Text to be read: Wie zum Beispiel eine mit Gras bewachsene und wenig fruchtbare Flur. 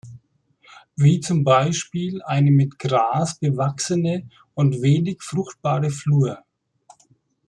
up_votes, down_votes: 2, 0